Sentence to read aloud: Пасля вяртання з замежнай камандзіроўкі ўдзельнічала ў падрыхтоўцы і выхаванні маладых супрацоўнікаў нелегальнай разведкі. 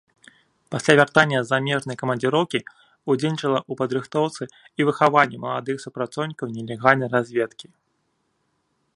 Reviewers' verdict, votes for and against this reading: accepted, 2, 0